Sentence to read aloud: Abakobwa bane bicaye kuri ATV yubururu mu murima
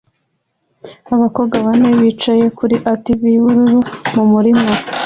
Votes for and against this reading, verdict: 2, 0, accepted